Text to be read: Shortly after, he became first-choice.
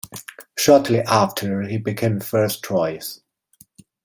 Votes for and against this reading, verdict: 1, 2, rejected